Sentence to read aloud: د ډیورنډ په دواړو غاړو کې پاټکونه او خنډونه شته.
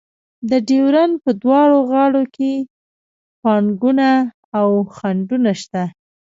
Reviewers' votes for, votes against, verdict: 0, 2, rejected